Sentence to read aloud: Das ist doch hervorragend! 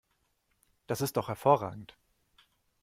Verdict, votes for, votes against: accepted, 2, 0